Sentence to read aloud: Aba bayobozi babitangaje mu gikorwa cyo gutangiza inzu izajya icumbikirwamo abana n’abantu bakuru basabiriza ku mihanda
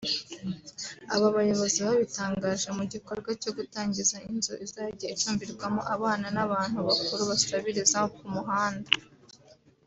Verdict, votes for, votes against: accepted, 2, 0